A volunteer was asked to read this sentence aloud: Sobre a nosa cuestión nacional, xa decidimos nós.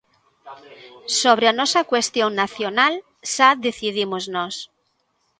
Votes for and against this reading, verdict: 0, 2, rejected